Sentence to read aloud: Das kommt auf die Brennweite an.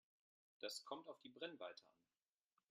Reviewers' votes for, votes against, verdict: 0, 2, rejected